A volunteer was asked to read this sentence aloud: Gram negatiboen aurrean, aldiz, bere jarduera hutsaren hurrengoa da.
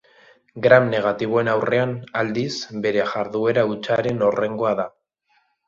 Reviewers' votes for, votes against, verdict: 0, 2, rejected